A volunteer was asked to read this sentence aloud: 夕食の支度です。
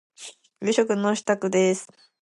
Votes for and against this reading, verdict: 2, 0, accepted